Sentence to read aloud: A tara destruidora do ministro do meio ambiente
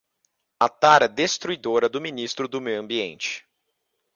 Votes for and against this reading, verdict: 2, 0, accepted